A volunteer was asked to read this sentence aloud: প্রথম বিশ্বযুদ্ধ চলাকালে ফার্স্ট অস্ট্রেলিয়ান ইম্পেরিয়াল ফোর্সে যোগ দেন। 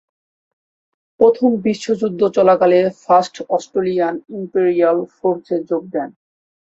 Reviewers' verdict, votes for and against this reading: accepted, 2, 0